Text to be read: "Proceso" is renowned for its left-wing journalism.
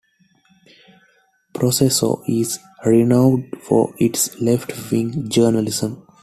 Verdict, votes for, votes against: accepted, 2, 0